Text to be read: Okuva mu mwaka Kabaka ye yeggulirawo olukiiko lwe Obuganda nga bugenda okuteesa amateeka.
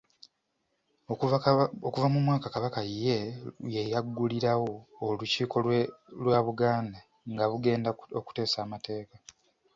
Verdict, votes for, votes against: rejected, 0, 2